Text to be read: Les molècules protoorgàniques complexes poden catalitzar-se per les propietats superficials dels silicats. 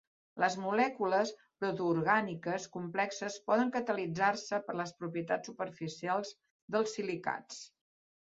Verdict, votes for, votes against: accepted, 2, 1